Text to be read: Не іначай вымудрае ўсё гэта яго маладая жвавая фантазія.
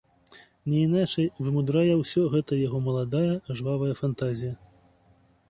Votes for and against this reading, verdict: 2, 0, accepted